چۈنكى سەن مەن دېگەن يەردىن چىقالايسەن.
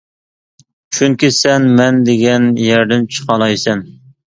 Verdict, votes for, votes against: accepted, 2, 0